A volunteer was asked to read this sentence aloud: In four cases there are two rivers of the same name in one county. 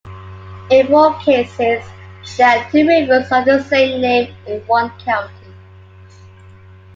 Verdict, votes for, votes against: accepted, 2, 0